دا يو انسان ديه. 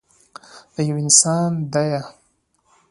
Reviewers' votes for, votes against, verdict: 2, 0, accepted